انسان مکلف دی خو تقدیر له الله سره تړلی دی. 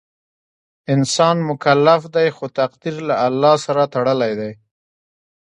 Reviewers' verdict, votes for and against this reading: rejected, 0, 2